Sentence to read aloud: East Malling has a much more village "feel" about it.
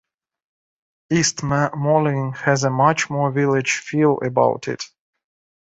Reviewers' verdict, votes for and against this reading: rejected, 1, 2